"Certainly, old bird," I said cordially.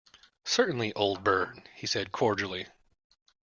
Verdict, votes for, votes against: rejected, 0, 2